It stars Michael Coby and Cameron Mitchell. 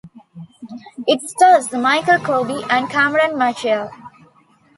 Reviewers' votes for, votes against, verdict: 2, 0, accepted